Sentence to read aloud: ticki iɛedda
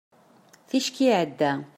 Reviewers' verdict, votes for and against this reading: accepted, 2, 0